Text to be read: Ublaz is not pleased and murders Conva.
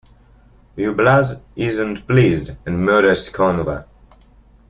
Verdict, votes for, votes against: rejected, 0, 2